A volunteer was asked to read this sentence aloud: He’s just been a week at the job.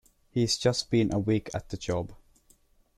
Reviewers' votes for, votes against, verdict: 2, 0, accepted